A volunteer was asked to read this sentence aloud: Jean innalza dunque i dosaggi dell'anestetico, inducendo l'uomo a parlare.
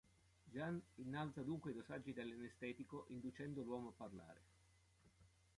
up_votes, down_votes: 1, 2